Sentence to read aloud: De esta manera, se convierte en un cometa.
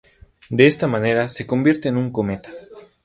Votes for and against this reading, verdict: 4, 0, accepted